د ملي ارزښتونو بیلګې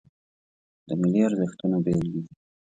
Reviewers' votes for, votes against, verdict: 2, 0, accepted